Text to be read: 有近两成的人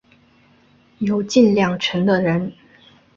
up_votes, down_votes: 2, 0